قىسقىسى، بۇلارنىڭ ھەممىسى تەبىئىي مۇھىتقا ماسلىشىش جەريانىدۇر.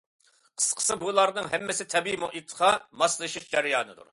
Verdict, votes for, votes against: accepted, 2, 1